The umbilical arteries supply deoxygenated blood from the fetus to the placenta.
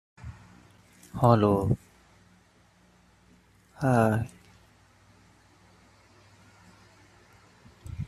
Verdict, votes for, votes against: rejected, 0, 2